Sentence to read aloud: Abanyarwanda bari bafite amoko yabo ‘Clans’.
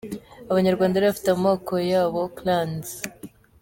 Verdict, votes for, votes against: accepted, 2, 1